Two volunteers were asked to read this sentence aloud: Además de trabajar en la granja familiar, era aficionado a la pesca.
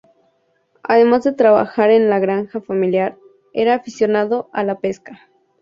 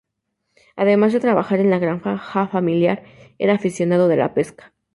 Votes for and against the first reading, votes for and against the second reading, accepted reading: 6, 0, 0, 2, first